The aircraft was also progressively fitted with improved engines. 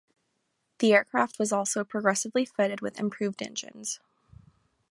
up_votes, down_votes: 2, 0